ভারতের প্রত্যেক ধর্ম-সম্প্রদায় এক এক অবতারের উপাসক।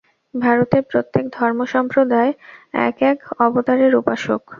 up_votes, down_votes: 0, 2